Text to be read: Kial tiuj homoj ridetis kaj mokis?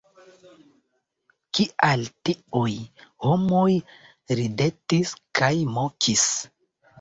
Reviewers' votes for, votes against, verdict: 2, 0, accepted